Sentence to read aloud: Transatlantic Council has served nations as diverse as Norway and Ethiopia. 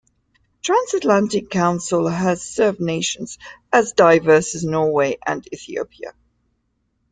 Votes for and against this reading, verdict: 2, 0, accepted